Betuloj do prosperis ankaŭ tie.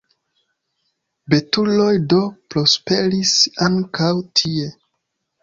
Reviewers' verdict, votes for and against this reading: accepted, 2, 0